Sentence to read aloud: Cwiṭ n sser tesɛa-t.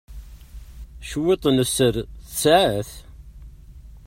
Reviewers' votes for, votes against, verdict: 2, 1, accepted